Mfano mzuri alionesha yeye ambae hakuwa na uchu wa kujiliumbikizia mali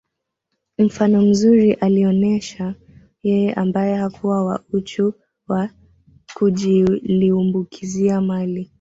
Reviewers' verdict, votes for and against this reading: accepted, 2, 0